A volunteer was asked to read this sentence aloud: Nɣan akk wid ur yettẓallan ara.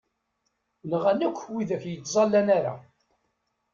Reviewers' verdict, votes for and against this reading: rejected, 1, 2